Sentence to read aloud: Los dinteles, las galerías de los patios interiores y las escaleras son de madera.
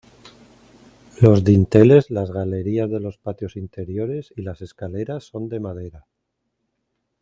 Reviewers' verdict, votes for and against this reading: accepted, 2, 0